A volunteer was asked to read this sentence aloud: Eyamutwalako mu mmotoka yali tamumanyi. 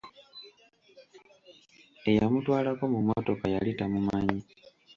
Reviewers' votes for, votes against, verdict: 2, 0, accepted